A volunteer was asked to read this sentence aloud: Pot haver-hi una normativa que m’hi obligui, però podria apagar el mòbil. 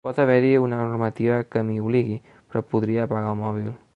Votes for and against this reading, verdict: 5, 0, accepted